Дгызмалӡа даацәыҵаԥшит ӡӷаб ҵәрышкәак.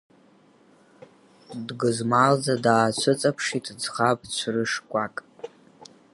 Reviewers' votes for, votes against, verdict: 4, 2, accepted